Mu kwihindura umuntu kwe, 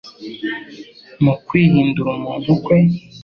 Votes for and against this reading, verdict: 2, 0, accepted